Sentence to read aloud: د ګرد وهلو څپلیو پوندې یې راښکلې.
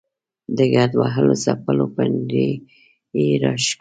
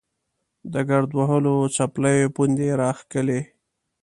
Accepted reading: second